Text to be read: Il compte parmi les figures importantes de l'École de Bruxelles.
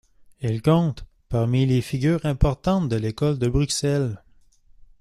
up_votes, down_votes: 2, 0